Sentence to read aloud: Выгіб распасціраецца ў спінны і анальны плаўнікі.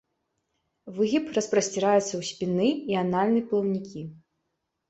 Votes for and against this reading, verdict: 0, 2, rejected